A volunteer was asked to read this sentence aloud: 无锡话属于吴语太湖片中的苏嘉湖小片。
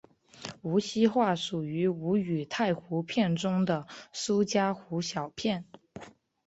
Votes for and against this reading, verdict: 2, 0, accepted